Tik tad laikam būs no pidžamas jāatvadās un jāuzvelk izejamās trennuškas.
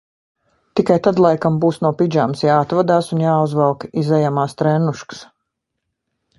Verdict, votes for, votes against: rejected, 1, 2